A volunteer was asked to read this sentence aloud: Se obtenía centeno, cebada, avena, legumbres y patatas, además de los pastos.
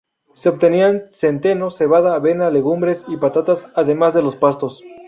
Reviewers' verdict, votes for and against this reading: rejected, 0, 2